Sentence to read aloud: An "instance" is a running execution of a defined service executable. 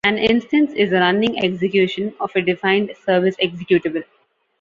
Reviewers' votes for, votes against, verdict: 2, 0, accepted